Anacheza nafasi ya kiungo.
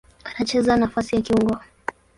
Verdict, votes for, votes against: rejected, 0, 2